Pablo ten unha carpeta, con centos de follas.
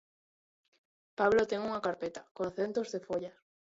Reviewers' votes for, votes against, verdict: 0, 2, rejected